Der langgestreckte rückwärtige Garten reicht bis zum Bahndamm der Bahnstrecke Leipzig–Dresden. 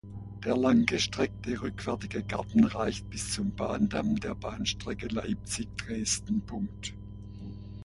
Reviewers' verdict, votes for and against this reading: rejected, 0, 2